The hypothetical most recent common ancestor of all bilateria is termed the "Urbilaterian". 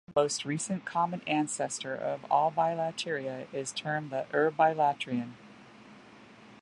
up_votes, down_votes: 1, 2